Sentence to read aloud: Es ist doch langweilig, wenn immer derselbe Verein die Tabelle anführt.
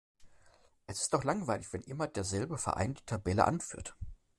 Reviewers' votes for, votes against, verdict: 2, 0, accepted